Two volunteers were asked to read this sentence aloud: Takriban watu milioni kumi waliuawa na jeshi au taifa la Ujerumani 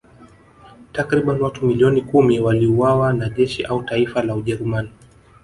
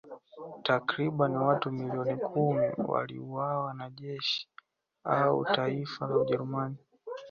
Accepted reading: second